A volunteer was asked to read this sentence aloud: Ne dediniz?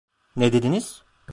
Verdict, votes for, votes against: accepted, 2, 0